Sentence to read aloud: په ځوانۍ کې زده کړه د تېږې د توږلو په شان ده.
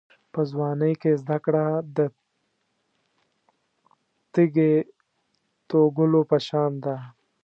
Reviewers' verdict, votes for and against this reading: accepted, 2, 1